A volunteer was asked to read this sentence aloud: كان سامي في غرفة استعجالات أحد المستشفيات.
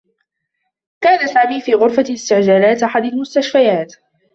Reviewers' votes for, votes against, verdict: 2, 0, accepted